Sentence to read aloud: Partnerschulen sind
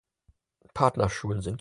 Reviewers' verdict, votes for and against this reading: accepted, 4, 0